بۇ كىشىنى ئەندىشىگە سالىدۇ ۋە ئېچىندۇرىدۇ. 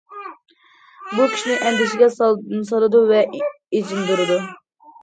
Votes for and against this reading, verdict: 0, 2, rejected